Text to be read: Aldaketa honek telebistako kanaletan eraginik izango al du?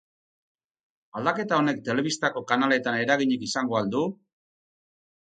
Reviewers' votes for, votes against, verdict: 6, 0, accepted